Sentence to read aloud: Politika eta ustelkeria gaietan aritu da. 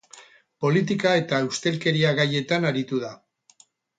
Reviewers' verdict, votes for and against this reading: rejected, 0, 2